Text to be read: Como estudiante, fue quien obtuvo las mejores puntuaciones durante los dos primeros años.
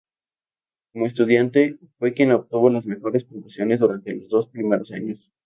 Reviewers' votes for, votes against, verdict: 2, 2, rejected